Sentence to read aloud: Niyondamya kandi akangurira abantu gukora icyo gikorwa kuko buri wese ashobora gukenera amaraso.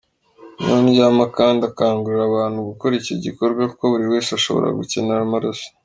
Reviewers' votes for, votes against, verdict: 0, 3, rejected